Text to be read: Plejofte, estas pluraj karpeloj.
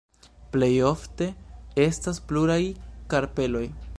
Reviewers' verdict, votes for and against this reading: accepted, 2, 0